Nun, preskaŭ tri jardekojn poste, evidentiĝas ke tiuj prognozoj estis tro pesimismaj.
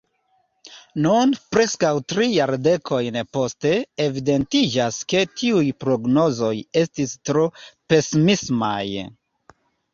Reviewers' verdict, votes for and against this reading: accepted, 2, 0